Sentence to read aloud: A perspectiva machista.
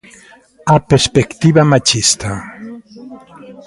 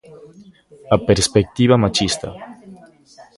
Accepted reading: second